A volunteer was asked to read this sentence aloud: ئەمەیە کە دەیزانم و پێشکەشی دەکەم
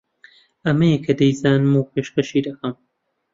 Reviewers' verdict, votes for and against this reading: accepted, 2, 0